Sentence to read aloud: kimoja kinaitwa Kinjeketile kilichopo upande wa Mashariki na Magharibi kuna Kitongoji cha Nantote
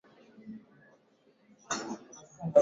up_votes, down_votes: 0, 2